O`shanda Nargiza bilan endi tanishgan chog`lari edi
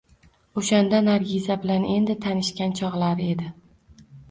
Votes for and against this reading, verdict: 2, 0, accepted